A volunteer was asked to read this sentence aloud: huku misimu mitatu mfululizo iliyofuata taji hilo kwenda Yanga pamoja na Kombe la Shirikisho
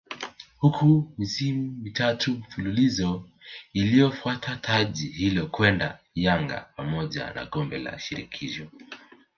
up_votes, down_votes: 2, 3